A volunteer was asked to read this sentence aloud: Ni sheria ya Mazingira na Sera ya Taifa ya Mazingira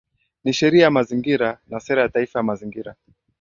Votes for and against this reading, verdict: 2, 0, accepted